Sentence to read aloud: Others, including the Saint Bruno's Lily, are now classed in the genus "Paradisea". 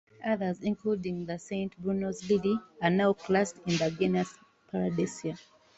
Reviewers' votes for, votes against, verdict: 2, 0, accepted